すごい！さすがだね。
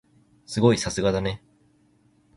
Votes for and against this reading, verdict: 2, 0, accepted